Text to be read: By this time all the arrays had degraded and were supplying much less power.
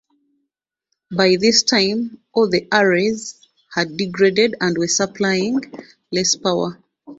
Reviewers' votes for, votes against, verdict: 1, 2, rejected